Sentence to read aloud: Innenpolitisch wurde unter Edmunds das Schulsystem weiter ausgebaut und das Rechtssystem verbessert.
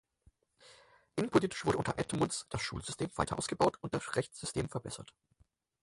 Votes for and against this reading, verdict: 2, 6, rejected